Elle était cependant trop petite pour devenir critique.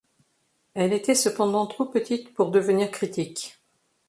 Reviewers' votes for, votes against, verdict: 2, 0, accepted